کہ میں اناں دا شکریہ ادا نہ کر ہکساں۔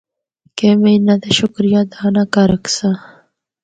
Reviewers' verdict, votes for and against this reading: accepted, 4, 0